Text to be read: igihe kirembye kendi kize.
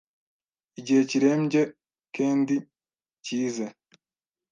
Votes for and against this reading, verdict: 1, 2, rejected